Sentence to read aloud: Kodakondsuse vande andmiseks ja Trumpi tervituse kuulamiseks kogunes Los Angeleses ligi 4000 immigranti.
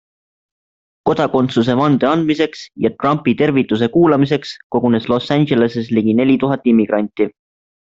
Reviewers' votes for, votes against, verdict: 0, 2, rejected